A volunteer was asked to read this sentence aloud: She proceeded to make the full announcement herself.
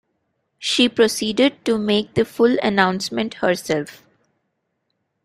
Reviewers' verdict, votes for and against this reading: accepted, 2, 0